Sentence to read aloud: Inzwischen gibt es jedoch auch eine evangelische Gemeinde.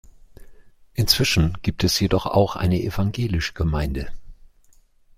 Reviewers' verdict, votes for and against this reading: rejected, 1, 2